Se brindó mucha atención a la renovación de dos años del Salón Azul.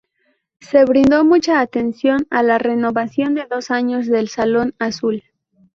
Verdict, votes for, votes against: accepted, 2, 0